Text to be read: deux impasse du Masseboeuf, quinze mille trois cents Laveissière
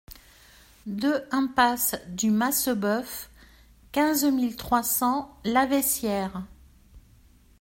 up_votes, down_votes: 2, 0